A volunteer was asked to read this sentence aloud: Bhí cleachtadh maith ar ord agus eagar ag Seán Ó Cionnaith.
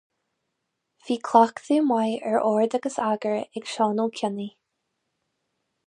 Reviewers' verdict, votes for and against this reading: rejected, 2, 2